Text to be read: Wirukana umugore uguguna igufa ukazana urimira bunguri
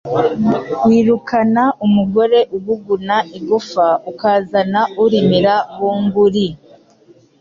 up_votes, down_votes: 2, 0